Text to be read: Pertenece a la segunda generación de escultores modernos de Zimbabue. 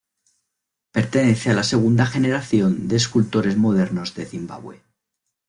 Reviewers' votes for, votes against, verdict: 2, 0, accepted